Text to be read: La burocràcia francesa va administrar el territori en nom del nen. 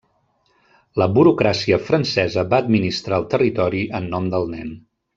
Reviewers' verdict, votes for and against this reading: rejected, 1, 2